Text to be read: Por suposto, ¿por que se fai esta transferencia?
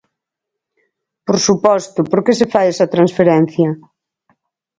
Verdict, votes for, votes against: rejected, 0, 4